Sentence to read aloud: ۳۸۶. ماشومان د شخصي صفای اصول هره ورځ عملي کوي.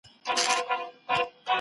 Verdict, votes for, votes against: rejected, 0, 2